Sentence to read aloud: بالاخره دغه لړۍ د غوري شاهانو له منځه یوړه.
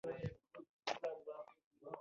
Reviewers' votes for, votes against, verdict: 0, 2, rejected